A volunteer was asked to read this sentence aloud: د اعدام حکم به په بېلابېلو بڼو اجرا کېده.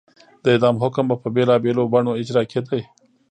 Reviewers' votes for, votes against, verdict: 2, 0, accepted